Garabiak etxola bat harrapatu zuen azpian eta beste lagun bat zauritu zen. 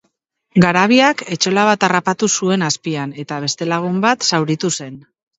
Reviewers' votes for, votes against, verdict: 3, 0, accepted